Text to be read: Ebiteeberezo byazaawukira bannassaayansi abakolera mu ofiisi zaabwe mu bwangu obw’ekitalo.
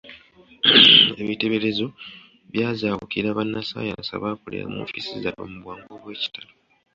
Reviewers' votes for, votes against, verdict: 1, 2, rejected